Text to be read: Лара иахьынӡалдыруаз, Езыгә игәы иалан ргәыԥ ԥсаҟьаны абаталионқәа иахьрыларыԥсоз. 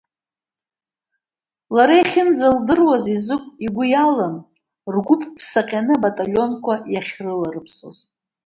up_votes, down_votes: 1, 2